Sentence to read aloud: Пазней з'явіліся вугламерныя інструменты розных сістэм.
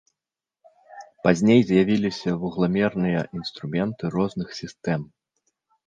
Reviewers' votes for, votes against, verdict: 2, 0, accepted